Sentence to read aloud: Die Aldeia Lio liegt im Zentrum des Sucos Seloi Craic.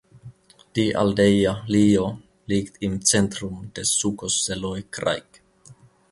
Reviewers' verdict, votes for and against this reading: accepted, 2, 0